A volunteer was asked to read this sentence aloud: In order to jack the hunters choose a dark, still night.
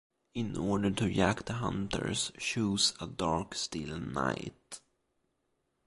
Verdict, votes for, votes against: rejected, 1, 2